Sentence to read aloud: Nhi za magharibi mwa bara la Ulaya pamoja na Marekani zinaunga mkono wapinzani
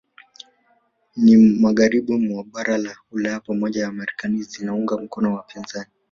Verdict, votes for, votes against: rejected, 1, 2